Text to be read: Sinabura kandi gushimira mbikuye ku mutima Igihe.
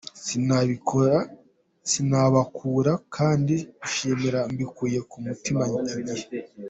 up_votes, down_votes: 1, 2